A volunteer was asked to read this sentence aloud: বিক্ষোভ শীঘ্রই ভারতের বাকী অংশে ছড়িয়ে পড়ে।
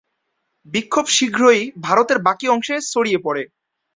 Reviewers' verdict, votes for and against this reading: rejected, 3, 5